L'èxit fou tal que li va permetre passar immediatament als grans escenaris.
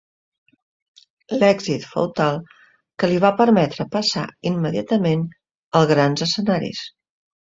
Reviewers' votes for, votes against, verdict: 1, 2, rejected